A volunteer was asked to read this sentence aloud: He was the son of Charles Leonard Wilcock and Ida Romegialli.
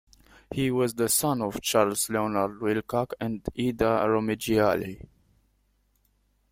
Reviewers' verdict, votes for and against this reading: accepted, 2, 0